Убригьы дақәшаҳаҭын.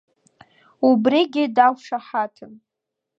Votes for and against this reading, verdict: 2, 0, accepted